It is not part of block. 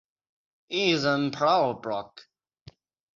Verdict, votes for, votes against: accepted, 6, 3